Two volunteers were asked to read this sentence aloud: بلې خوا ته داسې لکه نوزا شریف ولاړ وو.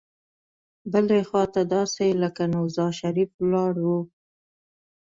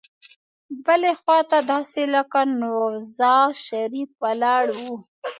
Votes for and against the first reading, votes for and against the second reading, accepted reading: 2, 0, 1, 2, first